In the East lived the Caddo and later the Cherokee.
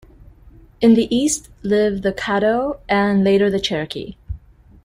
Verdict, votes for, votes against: accepted, 2, 0